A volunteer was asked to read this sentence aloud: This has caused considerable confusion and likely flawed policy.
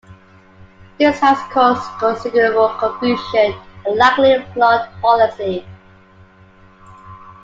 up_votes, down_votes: 1, 2